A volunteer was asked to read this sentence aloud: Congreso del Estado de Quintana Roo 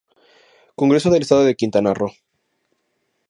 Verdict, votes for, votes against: rejected, 2, 2